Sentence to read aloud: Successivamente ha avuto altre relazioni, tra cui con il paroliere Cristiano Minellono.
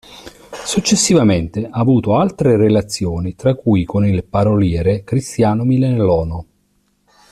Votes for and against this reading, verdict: 1, 2, rejected